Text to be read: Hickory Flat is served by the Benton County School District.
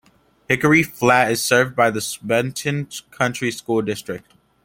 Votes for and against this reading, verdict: 0, 2, rejected